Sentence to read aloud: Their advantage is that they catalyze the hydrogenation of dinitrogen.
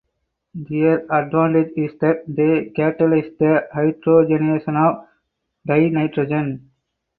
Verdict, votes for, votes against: rejected, 0, 4